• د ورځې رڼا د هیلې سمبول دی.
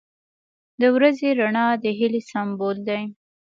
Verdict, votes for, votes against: accepted, 2, 1